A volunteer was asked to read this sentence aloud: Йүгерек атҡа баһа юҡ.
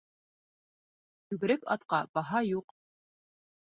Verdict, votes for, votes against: rejected, 0, 2